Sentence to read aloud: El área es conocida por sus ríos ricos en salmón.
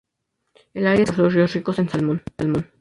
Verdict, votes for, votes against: rejected, 0, 2